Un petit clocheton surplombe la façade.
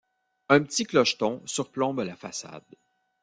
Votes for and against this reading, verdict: 2, 0, accepted